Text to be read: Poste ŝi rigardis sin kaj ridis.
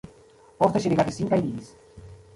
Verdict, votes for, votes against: rejected, 0, 2